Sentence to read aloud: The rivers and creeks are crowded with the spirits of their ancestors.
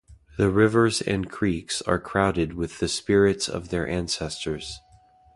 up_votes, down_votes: 2, 0